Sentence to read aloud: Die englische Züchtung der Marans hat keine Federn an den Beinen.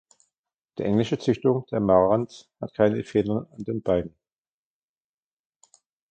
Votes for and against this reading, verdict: 0, 2, rejected